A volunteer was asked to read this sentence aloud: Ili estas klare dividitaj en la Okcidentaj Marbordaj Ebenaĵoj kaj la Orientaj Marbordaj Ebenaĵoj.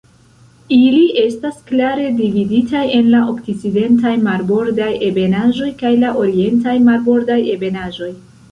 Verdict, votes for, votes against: rejected, 1, 2